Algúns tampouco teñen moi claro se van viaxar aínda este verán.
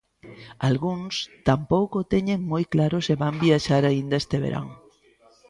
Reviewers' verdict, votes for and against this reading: accepted, 3, 0